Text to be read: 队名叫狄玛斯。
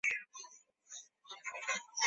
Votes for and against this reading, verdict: 1, 7, rejected